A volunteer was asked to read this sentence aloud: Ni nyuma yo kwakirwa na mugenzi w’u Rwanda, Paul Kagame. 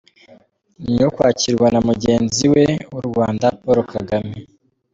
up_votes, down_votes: 2, 1